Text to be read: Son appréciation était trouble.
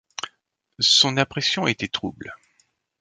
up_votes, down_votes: 1, 2